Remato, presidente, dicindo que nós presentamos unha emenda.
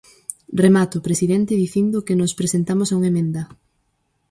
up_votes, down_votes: 4, 2